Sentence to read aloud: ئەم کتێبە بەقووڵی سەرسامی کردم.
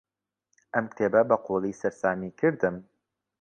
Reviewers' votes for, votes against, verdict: 3, 1, accepted